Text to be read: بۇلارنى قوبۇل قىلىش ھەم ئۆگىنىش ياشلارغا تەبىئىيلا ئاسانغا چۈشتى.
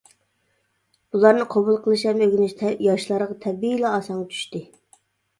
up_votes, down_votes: 1, 2